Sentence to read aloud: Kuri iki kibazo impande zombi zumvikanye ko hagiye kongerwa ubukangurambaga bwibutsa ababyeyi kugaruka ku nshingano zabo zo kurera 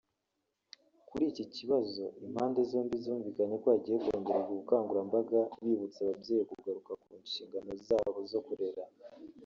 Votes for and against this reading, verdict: 0, 2, rejected